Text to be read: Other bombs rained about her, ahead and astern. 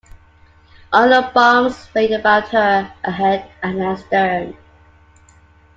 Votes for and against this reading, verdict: 1, 2, rejected